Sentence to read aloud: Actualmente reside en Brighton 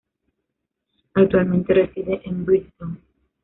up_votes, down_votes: 1, 2